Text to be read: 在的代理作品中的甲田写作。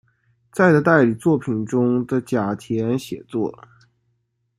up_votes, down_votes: 2, 0